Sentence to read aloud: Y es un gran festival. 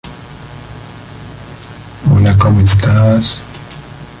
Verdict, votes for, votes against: rejected, 0, 2